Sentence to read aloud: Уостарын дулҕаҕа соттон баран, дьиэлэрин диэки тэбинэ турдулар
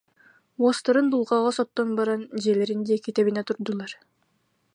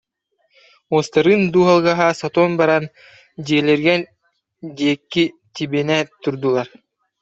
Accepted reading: first